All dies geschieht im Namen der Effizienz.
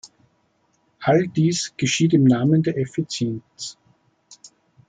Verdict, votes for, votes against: accepted, 2, 0